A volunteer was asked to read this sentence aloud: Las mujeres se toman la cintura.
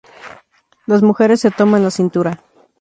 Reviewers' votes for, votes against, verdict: 2, 0, accepted